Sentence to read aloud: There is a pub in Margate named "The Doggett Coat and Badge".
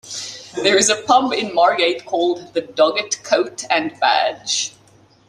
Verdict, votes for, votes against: accepted, 2, 0